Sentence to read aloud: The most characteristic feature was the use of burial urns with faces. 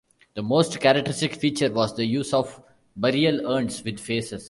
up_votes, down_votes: 2, 0